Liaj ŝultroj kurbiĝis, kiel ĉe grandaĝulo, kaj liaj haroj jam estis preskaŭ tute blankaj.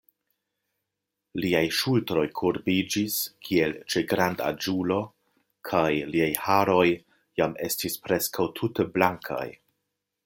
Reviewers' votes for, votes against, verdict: 2, 0, accepted